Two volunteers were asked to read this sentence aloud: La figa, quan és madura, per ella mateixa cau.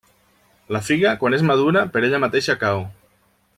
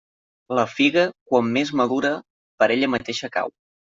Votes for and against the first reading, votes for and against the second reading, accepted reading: 3, 0, 0, 2, first